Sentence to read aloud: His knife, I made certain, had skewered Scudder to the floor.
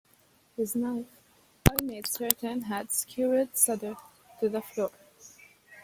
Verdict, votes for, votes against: rejected, 0, 2